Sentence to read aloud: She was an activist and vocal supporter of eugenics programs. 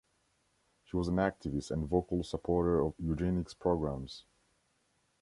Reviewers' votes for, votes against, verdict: 1, 2, rejected